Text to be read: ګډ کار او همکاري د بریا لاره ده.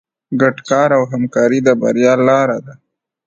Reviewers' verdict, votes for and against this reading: accepted, 2, 0